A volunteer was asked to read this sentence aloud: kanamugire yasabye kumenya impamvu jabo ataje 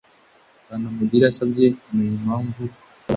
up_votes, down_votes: 1, 2